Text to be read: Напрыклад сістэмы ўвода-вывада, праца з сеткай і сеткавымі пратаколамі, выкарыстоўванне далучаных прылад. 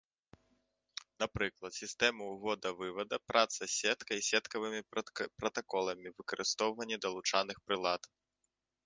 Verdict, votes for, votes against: rejected, 0, 2